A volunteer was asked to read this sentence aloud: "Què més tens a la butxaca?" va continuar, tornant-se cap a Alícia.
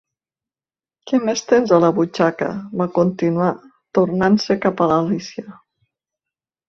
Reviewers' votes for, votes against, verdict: 2, 0, accepted